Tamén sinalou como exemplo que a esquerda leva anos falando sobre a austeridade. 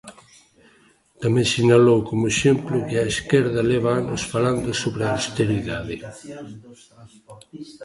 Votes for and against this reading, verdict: 0, 2, rejected